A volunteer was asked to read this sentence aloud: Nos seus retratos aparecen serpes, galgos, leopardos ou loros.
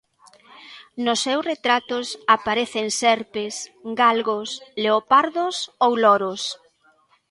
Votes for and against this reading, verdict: 1, 2, rejected